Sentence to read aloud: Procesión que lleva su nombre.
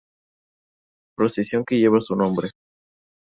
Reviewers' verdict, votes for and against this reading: accepted, 2, 0